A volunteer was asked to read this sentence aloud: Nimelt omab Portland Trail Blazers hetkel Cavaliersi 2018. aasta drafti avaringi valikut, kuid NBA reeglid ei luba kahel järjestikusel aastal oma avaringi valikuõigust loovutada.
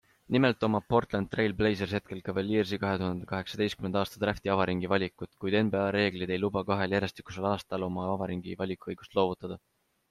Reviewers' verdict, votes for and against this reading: rejected, 0, 2